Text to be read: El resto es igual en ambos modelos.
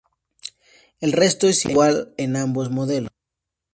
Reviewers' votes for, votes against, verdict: 0, 2, rejected